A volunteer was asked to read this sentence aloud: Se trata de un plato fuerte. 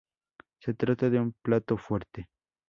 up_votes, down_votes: 4, 0